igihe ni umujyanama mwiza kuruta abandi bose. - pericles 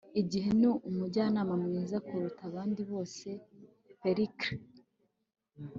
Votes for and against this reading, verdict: 2, 1, accepted